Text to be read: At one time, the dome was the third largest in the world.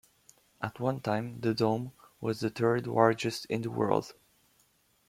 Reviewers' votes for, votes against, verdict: 1, 2, rejected